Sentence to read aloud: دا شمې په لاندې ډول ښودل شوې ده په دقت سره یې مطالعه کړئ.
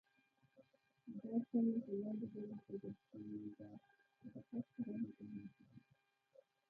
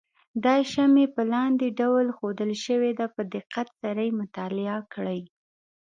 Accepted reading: second